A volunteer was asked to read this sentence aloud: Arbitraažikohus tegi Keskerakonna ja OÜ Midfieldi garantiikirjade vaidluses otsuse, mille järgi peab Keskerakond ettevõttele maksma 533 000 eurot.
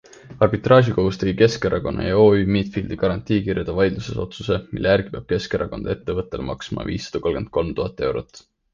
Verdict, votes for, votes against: rejected, 0, 2